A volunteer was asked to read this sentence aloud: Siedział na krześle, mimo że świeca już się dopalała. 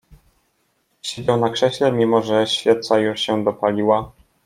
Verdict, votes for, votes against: rejected, 1, 2